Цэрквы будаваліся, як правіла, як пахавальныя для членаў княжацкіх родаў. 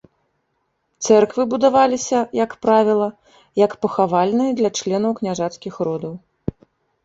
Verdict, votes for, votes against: rejected, 0, 2